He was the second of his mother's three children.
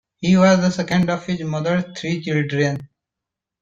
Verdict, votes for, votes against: accepted, 2, 1